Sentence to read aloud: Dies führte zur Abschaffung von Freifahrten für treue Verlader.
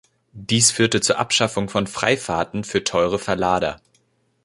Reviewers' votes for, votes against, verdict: 1, 3, rejected